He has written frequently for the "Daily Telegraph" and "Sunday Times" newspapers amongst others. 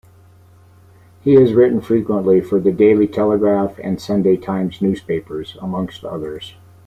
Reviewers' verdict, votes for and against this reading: accepted, 2, 1